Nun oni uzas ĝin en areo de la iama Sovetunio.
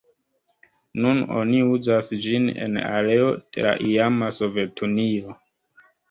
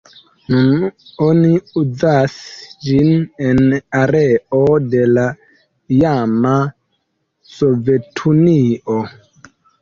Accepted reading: second